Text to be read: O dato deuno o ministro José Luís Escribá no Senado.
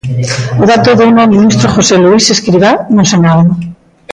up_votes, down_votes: 1, 2